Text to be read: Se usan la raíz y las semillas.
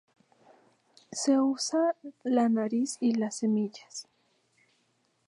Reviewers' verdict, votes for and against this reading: rejected, 0, 2